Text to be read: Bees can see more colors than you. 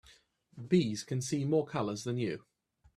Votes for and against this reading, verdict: 2, 0, accepted